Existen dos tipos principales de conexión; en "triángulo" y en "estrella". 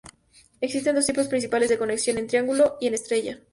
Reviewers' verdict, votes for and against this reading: accepted, 2, 0